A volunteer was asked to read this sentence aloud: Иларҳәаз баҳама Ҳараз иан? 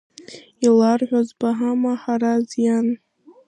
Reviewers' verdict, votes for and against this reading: accepted, 2, 1